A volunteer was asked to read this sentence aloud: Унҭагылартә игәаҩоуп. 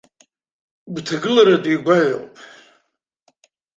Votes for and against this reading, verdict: 1, 2, rejected